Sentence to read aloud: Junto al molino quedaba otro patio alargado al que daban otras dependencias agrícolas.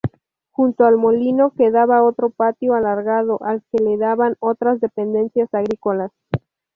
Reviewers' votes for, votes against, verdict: 0, 2, rejected